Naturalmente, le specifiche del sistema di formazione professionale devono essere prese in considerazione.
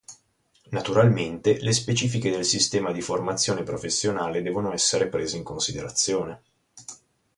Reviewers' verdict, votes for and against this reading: rejected, 2, 2